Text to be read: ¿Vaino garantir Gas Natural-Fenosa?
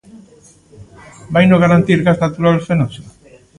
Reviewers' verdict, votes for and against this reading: rejected, 1, 2